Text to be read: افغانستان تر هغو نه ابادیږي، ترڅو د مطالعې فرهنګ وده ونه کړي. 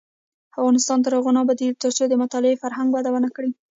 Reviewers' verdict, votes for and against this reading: rejected, 1, 2